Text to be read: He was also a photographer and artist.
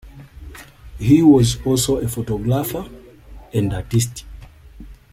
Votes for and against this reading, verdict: 2, 0, accepted